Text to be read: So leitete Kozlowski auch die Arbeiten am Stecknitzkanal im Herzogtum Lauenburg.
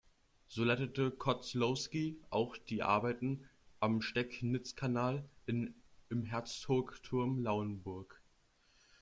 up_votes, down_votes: 1, 2